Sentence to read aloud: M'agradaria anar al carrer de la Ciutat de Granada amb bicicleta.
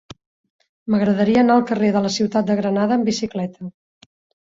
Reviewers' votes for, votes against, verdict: 4, 0, accepted